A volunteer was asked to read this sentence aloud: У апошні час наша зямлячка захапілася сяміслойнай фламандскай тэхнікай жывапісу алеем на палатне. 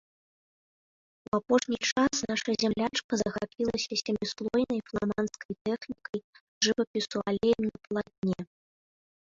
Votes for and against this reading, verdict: 0, 2, rejected